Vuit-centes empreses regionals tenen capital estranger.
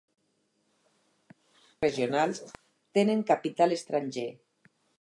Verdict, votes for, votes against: rejected, 0, 4